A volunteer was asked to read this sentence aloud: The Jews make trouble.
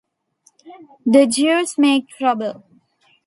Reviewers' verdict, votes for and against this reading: accepted, 2, 0